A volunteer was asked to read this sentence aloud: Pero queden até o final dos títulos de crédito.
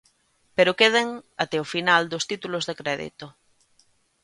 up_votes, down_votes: 2, 0